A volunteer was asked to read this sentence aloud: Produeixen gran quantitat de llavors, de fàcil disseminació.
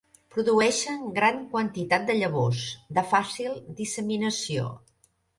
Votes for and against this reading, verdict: 6, 0, accepted